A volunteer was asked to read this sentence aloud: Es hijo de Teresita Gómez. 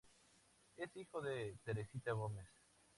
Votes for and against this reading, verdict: 0, 2, rejected